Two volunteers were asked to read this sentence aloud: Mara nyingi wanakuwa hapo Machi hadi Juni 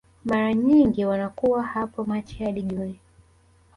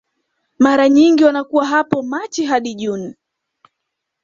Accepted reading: first